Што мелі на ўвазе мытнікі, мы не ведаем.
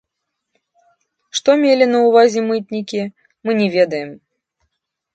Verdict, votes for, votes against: rejected, 1, 2